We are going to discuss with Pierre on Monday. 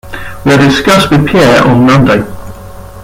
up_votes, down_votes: 0, 2